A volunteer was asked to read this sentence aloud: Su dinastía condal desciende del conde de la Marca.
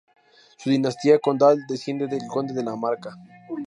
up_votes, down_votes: 2, 0